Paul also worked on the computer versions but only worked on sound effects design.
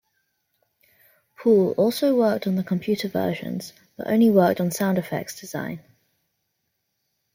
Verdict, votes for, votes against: accepted, 2, 0